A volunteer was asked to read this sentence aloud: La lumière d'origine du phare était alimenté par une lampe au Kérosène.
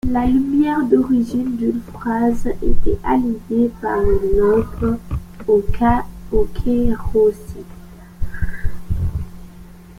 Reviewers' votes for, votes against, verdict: 0, 2, rejected